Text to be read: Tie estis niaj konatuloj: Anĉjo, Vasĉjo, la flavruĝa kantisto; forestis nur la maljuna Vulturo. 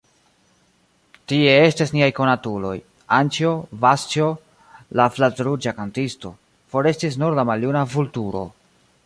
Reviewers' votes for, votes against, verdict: 0, 2, rejected